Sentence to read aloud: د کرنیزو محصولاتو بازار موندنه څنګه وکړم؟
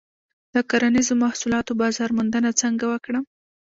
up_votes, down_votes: 1, 2